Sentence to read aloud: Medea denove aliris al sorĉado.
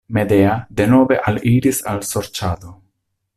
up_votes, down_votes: 2, 0